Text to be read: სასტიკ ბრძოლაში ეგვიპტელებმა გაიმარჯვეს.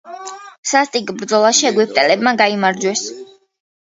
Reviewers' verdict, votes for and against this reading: accepted, 2, 0